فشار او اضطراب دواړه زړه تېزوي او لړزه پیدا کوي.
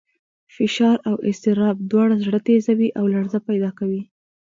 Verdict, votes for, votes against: rejected, 1, 2